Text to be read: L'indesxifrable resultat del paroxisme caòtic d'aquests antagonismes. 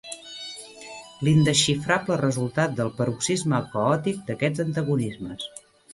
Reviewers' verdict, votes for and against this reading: accepted, 2, 0